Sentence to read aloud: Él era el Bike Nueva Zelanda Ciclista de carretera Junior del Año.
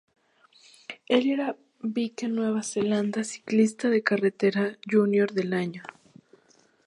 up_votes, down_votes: 0, 2